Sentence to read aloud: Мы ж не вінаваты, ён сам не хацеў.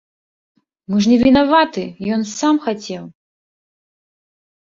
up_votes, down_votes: 0, 2